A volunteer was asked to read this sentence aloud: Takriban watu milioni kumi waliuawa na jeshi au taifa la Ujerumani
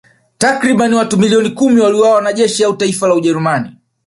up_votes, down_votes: 2, 1